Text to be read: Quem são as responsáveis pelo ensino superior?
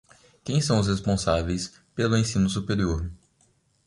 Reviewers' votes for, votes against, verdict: 4, 1, accepted